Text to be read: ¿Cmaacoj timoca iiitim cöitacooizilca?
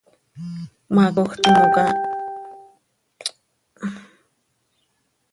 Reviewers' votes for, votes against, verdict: 1, 2, rejected